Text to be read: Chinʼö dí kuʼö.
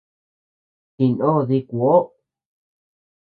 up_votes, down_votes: 0, 2